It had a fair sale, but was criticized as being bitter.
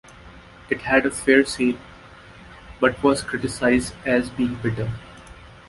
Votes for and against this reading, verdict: 1, 2, rejected